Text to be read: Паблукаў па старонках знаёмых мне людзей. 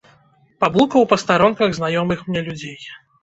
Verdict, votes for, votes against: rejected, 0, 2